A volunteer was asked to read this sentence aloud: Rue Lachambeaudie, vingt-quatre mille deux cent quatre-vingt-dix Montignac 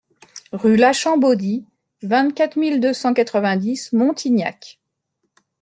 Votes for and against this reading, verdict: 2, 0, accepted